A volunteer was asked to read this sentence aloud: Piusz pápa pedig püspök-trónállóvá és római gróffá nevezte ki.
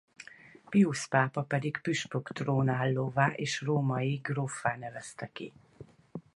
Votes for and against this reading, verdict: 4, 0, accepted